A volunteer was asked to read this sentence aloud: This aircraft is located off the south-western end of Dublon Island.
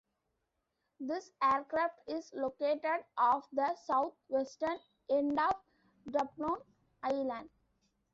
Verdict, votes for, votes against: accepted, 2, 1